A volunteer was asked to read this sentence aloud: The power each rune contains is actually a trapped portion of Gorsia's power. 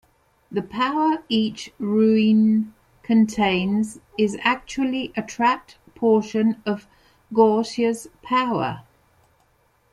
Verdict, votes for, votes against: rejected, 0, 2